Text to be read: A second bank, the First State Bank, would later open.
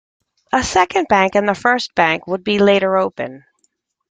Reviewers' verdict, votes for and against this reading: rejected, 1, 3